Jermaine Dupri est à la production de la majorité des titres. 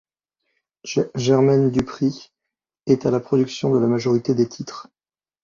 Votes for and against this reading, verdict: 1, 2, rejected